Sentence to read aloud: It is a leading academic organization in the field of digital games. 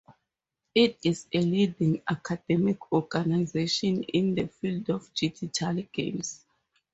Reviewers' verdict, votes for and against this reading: rejected, 0, 2